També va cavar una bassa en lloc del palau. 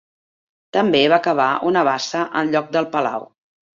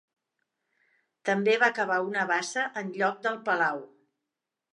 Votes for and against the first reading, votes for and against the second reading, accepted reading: 0, 2, 2, 0, second